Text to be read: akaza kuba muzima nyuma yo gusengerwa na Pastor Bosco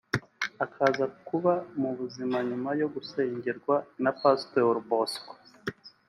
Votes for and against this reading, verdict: 1, 2, rejected